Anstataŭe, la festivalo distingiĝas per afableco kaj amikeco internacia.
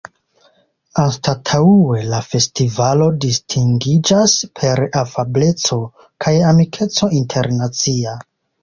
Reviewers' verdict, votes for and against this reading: accepted, 2, 1